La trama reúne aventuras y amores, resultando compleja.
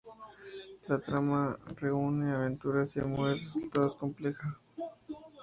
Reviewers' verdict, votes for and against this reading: rejected, 0, 2